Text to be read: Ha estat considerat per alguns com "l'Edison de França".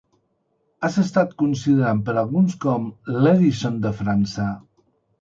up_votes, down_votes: 0, 2